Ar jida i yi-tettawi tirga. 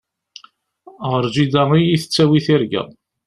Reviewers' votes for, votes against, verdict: 0, 2, rejected